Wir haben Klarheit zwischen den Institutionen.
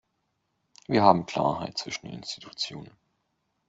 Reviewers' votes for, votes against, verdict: 1, 2, rejected